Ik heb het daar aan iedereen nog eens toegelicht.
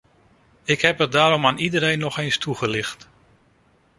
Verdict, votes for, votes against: rejected, 1, 2